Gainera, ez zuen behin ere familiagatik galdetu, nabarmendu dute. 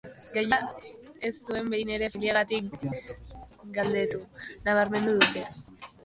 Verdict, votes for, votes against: rejected, 0, 2